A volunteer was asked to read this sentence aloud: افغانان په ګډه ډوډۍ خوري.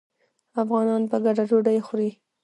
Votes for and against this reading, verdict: 0, 2, rejected